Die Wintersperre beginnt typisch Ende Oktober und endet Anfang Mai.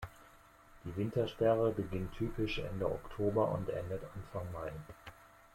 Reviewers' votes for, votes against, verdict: 2, 0, accepted